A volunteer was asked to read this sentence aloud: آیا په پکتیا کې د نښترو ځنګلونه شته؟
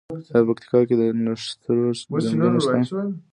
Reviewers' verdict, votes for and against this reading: rejected, 1, 2